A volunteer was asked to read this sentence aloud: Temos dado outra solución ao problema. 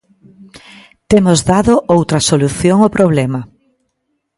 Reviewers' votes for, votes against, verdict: 2, 0, accepted